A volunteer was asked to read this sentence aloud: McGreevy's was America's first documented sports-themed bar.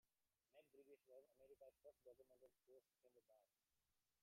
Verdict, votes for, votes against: rejected, 0, 2